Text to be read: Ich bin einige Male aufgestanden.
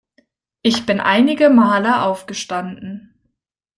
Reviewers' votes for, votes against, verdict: 2, 0, accepted